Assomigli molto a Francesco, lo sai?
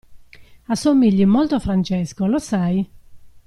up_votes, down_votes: 2, 0